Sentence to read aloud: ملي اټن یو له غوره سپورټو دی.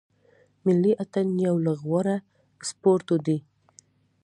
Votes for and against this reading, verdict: 2, 0, accepted